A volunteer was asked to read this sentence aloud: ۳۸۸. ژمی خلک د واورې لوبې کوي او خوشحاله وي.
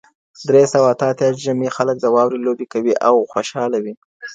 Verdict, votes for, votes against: rejected, 0, 2